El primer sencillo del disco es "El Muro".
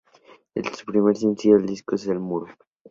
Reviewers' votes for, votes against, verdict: 2, 0, accepted